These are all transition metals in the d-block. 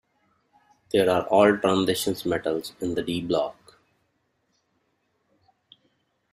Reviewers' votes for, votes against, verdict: 0, 2, rejected